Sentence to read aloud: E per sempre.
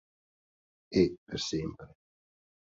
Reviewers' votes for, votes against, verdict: 2, 0, accepted